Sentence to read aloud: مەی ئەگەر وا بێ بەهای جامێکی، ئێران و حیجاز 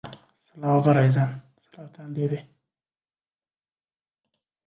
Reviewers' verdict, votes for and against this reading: rejected, 0, 2